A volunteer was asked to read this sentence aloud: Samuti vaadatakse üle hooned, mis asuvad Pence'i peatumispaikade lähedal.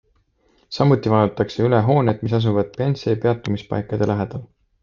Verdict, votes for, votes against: accepted, 2, 0